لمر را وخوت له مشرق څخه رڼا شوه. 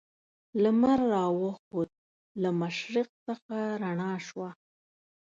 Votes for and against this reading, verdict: 2, 1, accepted